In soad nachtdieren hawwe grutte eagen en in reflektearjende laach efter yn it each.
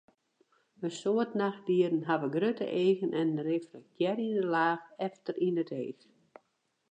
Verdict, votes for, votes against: rejected, 0, 2